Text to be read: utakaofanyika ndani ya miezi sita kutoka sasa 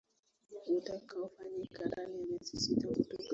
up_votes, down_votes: 0, 2